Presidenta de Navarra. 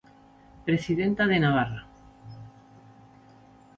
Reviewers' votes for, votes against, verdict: 2, 0, accepted